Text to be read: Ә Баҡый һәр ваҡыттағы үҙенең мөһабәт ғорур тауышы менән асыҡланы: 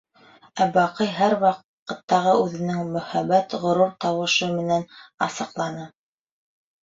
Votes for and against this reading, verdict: 1, 2, rejected